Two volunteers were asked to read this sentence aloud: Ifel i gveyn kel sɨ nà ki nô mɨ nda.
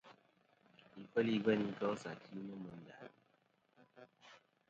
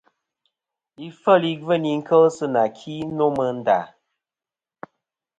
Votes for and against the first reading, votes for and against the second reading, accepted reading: 1, 2, 2, 0, second